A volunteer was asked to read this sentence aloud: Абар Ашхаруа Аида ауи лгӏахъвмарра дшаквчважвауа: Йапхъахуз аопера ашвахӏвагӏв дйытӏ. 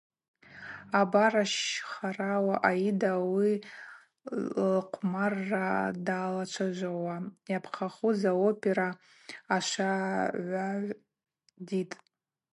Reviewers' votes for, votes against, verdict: 0, 2, rejected